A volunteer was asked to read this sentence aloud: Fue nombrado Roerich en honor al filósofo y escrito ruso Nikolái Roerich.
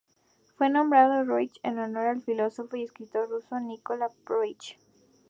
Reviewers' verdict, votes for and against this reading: accepted, 2, 0